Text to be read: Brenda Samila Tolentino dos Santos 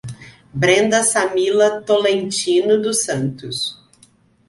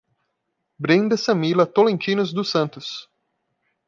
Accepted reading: first